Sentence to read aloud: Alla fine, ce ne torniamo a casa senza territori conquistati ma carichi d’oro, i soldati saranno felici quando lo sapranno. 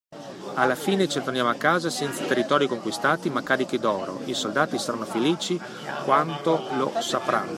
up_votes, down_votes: 0, 2